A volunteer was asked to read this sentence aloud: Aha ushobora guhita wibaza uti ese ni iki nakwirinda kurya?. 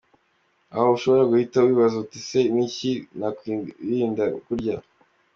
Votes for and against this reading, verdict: 2, 0, accepted